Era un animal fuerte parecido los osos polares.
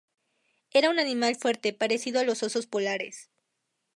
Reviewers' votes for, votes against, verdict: 0, 2, rejected